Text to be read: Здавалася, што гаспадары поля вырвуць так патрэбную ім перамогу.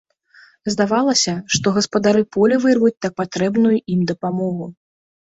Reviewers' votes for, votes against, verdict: 1, 2, rejected